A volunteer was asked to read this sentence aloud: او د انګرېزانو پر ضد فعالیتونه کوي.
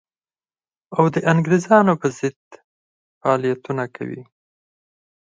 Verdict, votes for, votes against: rejected, 4, 6